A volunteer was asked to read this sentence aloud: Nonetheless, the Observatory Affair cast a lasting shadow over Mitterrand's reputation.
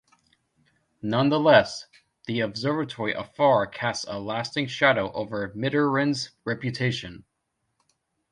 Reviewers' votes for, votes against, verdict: 0, 2, rejected